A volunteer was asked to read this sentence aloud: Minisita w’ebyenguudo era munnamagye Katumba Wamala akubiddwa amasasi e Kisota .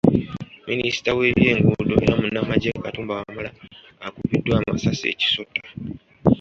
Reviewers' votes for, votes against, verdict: 2, 1, accepted